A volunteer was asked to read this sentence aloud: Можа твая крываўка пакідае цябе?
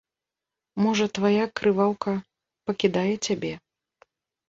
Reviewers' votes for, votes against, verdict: 2, 0, accepted